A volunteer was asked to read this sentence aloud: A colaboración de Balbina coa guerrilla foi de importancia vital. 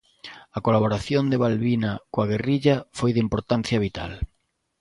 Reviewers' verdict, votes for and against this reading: accepted, 2, 0